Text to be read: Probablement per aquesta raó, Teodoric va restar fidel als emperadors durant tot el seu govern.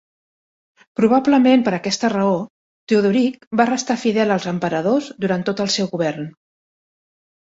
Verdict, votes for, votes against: accepted, 2, 0